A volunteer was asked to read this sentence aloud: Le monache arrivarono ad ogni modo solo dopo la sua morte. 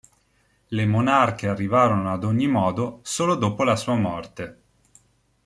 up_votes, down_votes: 0, 2